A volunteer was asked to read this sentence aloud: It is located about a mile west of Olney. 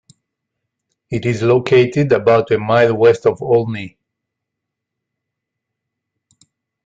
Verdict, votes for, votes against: accepted, 2, 0